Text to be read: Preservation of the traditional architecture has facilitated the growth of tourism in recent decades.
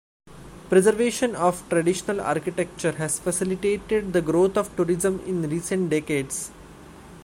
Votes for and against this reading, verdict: 1, 2, rejected